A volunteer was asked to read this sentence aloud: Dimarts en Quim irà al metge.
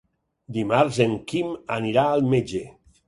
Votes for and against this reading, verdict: 0, 6, rejected